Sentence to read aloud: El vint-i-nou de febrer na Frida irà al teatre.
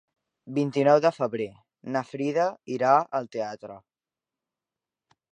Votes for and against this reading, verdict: 0, 2, rejected